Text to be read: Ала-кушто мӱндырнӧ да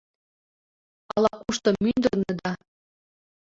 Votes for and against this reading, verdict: 1, 2, rejected